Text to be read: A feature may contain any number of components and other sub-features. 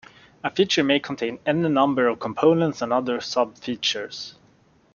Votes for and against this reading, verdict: 2, 0, accepted